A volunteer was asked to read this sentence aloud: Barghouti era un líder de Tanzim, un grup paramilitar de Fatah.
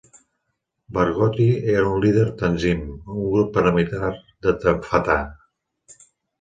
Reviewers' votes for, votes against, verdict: 0, 2, rejected